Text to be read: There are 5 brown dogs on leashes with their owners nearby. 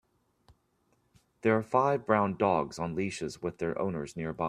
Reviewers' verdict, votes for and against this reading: rejected, 0, 2